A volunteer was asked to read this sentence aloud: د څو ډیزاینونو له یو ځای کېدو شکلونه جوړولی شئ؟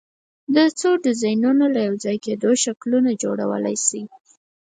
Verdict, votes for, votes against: accepted, 4, 0